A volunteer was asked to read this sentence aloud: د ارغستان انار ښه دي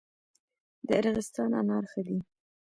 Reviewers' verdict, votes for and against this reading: accepted, 2, 0